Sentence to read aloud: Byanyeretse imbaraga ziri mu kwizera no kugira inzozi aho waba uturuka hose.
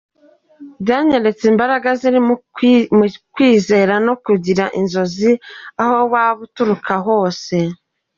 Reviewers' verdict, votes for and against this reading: rejected, 0, 2